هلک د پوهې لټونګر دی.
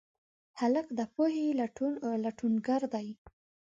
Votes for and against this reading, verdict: 2, 0, accepted